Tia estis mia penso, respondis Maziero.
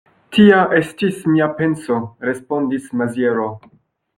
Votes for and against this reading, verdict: 2, 0, accepted